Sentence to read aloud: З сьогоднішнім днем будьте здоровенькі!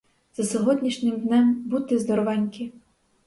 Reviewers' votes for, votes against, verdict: 0, 4, rejected